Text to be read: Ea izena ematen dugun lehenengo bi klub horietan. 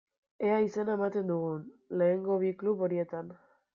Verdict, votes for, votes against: accepted, 2, 0